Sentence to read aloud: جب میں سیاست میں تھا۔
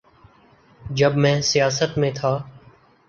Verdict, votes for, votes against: accepted, 2, 0